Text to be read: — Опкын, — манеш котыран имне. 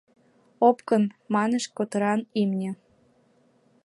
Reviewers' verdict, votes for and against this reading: accepted, 2, 0